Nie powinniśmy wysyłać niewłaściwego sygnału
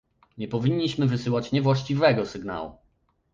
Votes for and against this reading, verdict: 2, 0, accepted